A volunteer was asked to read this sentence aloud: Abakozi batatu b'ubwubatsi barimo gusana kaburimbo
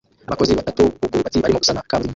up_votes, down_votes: 0, 2